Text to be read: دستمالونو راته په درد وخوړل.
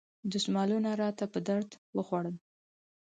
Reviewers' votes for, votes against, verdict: 4, 0, accepted